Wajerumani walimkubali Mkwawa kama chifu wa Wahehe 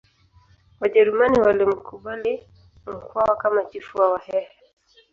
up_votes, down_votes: 3, 1